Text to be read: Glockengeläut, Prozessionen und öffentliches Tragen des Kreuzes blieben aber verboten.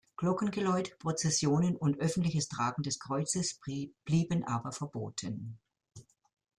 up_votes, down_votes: 0, 2